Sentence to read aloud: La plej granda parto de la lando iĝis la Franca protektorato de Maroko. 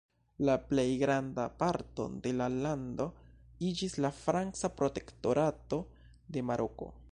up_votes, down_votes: 0, 2